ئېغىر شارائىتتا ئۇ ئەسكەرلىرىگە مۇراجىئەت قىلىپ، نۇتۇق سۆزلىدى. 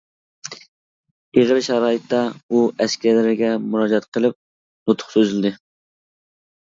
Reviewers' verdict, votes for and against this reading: rejected, 1, 2